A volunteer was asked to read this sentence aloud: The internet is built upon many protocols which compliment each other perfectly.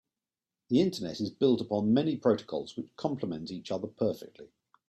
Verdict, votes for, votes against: accepted, 2, 0